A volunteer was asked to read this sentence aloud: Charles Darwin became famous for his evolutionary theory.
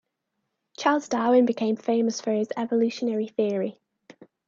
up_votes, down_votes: 2, 0